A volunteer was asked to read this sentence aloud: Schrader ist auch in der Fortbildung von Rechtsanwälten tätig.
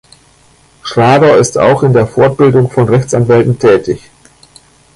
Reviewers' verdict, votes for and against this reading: rejected, 1, 2